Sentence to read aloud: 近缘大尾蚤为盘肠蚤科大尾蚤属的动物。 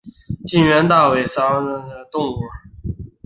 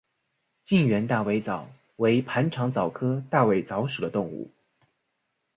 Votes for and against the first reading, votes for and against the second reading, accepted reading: 1, 3, 2, 0, second